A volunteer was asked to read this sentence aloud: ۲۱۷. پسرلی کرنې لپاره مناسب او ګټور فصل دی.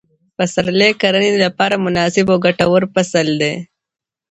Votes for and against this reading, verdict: 0, 2, rejected